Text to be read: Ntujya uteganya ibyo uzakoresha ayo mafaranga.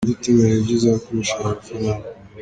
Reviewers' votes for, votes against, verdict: 2, 1, accepted